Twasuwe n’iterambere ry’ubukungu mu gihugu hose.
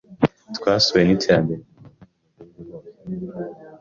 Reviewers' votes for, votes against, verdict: 1, 2, rejected